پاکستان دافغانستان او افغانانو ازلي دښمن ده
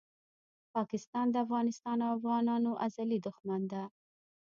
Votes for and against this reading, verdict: 1, 2, rejected